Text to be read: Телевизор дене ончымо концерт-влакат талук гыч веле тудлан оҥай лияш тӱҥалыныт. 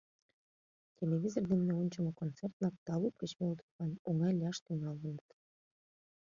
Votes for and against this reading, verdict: 0, 2, rejected